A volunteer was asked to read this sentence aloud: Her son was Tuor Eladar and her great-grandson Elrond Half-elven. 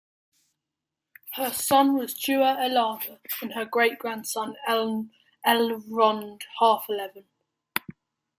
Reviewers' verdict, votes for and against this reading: rejected, 0, 2